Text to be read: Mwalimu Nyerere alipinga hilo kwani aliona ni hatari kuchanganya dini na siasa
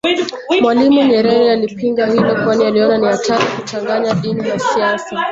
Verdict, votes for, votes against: rejected, 0, 2